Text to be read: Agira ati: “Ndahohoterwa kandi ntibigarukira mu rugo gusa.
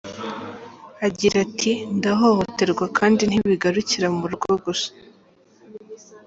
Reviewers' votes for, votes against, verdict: 3, 0, accepted